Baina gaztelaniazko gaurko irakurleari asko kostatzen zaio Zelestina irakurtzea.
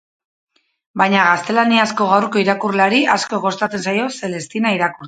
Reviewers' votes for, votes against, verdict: 0, 2, rejected